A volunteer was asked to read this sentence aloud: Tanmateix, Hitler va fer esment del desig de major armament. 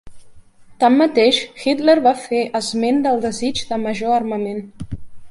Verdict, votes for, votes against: rejected, 1, 2